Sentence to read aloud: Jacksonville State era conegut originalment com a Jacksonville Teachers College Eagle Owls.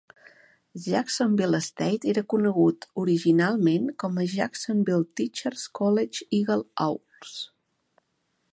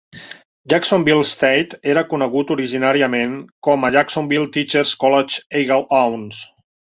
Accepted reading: first